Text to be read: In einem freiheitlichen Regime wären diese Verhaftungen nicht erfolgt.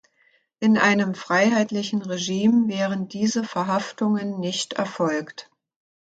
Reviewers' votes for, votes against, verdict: 2, 0, accepted